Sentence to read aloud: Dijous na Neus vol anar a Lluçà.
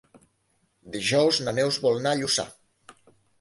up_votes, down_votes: 1, 2